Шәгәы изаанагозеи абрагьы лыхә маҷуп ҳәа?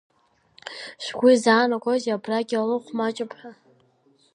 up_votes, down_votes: 2, 0